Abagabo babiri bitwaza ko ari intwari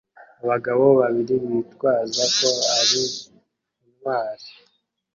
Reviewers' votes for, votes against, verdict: 1, 2, rejected